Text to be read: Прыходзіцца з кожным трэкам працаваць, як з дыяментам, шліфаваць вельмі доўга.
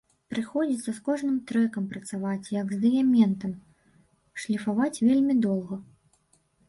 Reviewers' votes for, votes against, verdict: 0, 2, rejected